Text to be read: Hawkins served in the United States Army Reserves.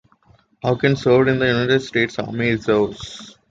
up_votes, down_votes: 0, 2